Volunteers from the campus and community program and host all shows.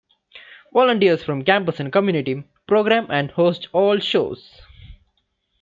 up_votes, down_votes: 2, 1